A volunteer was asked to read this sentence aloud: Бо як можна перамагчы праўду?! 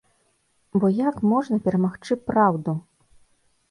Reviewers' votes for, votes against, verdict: 2, 0, accepted